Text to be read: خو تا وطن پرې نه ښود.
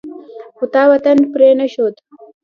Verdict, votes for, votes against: accepted, 2, 0